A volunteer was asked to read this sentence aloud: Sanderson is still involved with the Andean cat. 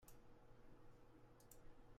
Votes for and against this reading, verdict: 0, 2, rejected